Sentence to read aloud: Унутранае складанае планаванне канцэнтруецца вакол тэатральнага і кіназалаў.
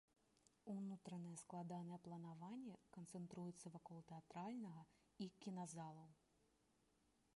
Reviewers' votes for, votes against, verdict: 0, 2, rejected